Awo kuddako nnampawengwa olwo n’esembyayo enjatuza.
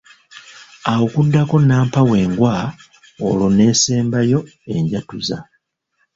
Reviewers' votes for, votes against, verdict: 1, 2, rejected